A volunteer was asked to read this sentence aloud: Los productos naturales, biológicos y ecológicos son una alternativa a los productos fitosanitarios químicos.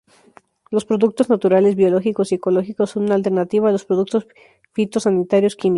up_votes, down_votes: 0, 2